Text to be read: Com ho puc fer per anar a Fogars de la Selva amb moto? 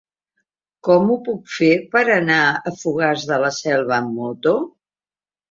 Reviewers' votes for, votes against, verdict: 4, 0, accepted